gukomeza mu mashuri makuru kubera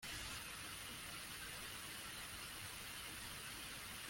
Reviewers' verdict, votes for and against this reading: rejected, 0, 2